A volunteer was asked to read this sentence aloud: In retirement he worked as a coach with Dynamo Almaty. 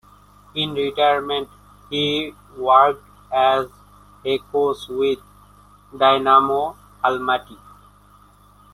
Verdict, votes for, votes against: accepted, 2, 0